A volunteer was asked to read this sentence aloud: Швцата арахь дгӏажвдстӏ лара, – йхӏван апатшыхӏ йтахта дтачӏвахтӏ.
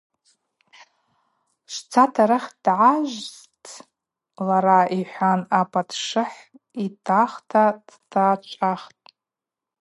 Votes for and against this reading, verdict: 0, 2, rejected